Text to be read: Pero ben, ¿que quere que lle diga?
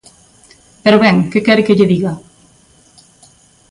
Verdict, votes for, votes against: accepted, 2, 0